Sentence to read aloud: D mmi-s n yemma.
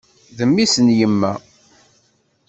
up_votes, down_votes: 2, 0